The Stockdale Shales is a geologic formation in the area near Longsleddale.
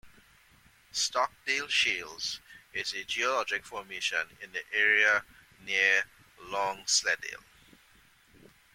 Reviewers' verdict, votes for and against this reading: accepted, 2, 0